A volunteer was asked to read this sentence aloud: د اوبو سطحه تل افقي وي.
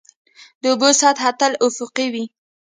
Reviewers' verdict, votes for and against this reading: accepted, 2, 0